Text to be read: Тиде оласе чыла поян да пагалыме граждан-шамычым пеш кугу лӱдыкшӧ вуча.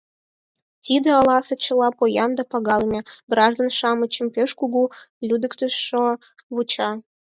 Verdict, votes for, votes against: rejected, 2, 4